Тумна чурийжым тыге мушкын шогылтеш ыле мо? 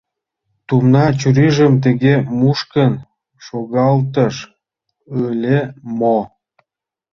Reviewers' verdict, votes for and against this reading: rejected, 1, 2